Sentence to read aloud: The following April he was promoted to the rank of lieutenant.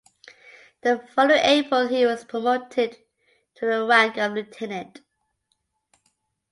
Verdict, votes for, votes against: rejected, 1, 2